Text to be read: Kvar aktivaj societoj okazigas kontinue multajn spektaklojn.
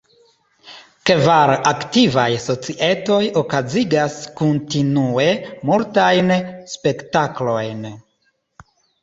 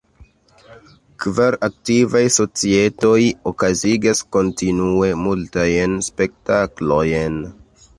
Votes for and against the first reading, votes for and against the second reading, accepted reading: 2, 1, 1, 2, first